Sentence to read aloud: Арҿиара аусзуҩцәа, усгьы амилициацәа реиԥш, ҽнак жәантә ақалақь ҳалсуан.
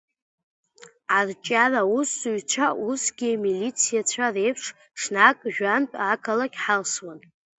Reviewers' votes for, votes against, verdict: 0, 2, rejected